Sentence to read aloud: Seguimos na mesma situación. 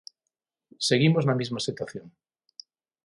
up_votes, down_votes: 0, 6